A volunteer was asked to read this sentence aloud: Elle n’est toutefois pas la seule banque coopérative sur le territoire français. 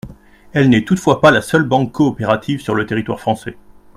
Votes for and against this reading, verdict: 2, 0, accepted